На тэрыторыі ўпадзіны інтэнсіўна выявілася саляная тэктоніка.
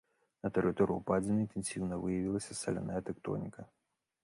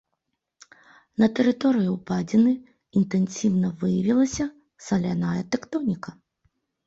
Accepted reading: second